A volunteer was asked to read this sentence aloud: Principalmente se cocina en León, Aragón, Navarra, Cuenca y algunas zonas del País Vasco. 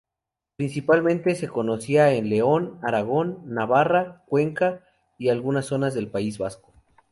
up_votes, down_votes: 0, 2